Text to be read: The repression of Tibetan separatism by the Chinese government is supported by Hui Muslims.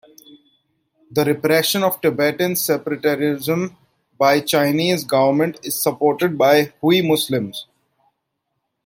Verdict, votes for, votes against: rejected, 1, 2